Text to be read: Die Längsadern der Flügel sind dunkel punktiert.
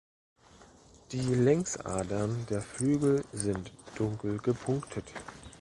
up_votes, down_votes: 0, 2